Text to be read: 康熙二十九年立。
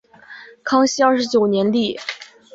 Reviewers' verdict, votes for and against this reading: accepted, 4, 0